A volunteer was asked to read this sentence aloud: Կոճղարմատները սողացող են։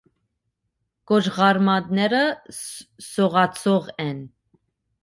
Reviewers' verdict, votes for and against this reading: rejected, 1, 2